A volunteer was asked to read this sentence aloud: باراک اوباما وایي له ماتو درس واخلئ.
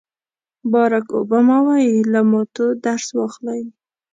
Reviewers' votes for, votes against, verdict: 3, 0, accepted